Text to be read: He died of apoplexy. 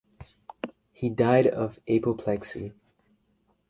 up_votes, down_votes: 2, 1